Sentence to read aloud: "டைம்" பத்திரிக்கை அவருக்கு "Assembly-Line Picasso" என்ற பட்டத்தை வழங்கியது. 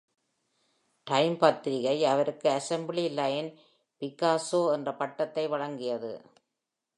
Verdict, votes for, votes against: accepted, 2, 0